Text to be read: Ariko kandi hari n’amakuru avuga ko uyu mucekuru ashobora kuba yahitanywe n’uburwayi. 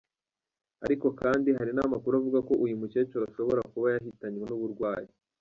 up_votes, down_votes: 2, 0